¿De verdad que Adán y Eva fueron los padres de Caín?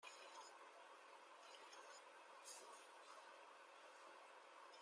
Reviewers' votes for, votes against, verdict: 0, 2, rejected